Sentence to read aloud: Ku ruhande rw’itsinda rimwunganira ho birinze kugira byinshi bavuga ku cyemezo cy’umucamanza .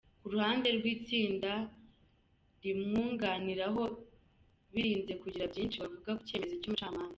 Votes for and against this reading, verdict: 1, 2, rejected